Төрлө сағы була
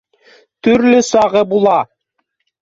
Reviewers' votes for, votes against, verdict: 1, 2, rejected